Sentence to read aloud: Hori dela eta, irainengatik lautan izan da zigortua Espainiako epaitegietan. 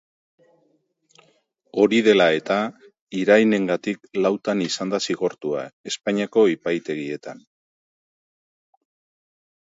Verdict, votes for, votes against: accepted, 2, 0